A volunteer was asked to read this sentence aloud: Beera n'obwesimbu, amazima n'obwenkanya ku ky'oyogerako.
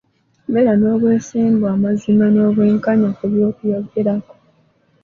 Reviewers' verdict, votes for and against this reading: rejected, 0, 2